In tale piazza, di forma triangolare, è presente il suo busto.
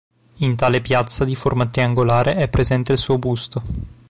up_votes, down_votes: 2, 1